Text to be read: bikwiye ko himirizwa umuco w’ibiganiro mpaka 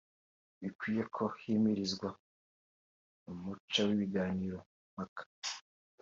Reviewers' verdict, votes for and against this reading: accepted, 2, 0